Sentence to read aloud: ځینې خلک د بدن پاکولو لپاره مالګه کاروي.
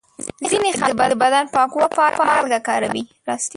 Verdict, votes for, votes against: rejected, 0, 2